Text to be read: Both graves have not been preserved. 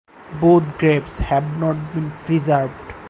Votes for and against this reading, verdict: 4, 0, accepted